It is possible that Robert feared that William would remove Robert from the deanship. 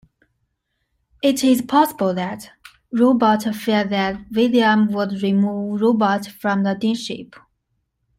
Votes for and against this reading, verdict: 0, 2, rejected